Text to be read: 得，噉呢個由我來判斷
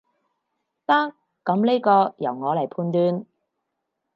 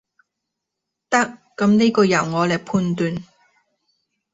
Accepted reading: second